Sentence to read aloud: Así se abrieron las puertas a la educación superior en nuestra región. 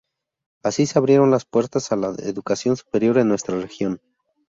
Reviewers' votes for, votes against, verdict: 2, 0, accepted